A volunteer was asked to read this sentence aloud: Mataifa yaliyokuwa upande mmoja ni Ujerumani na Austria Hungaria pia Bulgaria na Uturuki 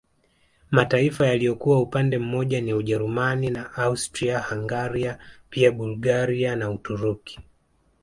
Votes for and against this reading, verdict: 3, 2, accepted